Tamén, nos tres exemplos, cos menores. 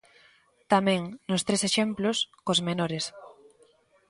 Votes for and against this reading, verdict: 2, 0, accepted